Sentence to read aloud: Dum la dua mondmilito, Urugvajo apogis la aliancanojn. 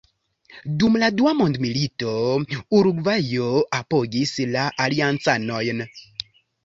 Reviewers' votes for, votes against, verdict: 2, 0, accepted